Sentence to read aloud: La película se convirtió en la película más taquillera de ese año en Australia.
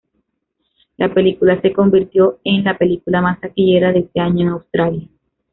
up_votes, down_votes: 2, 1